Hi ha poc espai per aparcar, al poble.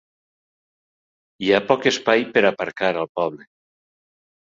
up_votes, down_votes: 2, 0